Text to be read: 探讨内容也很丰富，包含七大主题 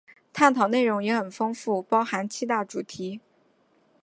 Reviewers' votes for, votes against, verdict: 2, 0, accepted